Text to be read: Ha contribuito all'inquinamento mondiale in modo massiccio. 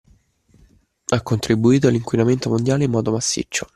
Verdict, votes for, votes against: accepted, 2, 0